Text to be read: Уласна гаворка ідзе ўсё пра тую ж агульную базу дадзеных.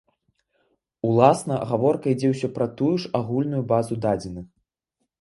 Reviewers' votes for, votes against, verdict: 2, 0, accepted